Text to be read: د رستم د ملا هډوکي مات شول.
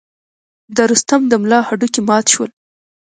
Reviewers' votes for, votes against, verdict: 1, 2, rejected